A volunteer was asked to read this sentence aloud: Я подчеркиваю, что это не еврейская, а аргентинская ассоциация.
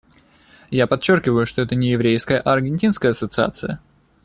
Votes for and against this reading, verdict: 2, 0, accepted